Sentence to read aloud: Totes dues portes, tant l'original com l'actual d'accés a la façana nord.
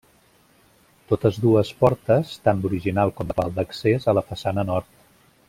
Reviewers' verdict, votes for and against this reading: rejected, 0, 2